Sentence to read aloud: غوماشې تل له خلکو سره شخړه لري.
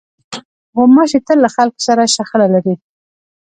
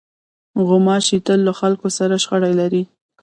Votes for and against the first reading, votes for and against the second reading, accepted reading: 2, 0, 0, 2, first